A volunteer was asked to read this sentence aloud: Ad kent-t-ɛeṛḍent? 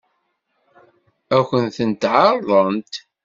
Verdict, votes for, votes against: rejected, 1, 2